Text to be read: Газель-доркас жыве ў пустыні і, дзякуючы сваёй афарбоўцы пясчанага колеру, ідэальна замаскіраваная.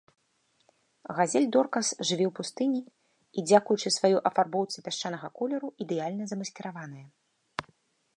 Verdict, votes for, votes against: accepted, 2, 0